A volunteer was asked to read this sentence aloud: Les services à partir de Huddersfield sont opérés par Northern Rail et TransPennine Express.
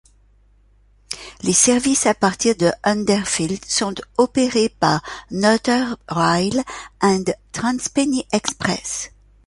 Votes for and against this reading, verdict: 0, 2, rejected